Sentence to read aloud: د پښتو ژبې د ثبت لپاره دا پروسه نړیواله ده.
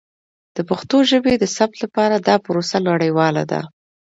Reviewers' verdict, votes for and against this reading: accepted, 2, 0